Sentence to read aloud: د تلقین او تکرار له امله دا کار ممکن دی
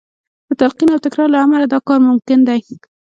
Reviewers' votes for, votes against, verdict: 1, 2, rejected